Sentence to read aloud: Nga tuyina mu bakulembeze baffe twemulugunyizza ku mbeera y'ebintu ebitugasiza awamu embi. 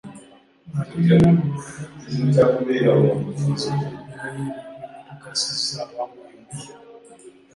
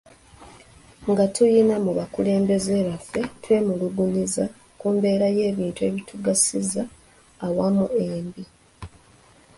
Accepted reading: second